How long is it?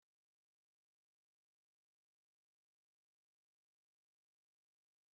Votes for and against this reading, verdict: 0, 2, rejected